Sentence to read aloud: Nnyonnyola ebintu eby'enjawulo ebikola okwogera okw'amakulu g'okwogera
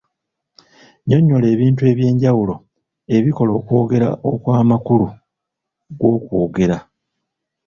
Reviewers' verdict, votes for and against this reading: accepted, 2, 0